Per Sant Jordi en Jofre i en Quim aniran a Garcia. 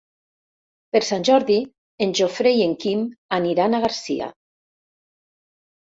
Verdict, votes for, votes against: rejected, 0, 2